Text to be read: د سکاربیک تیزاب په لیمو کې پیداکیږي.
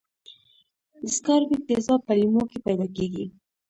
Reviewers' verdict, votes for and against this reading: rejected, 0, 2